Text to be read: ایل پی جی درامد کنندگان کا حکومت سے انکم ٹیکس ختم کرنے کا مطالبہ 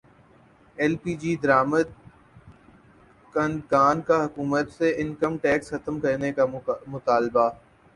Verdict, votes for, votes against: rejected, 6, 6